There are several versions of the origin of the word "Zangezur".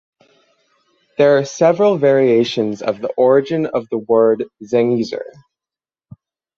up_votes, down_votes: 3, 6